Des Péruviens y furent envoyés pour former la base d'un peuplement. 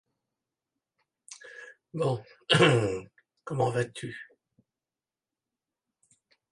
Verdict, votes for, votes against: rejected, 0, 2